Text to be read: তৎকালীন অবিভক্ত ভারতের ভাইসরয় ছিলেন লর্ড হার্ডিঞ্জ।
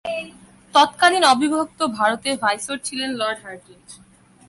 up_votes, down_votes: 1, 2